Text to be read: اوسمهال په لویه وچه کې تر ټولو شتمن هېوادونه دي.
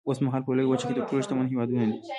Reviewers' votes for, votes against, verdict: 2, 1, accepted